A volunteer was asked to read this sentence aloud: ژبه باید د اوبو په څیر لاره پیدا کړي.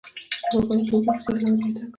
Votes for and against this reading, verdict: 0, 2, rejected